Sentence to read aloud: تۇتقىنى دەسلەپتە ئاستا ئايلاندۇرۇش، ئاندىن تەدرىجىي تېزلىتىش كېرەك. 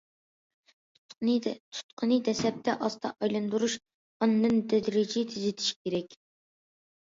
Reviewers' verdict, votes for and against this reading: rejected, 0, 2